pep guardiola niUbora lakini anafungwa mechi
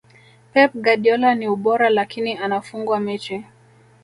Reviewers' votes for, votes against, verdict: 1, 2, rejected